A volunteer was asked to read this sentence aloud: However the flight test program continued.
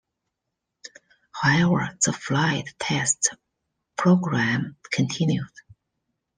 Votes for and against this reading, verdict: 2, 0, accepted